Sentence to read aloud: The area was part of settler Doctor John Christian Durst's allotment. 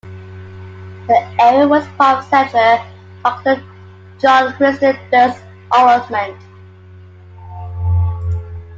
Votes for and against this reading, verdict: 0, 2, rejected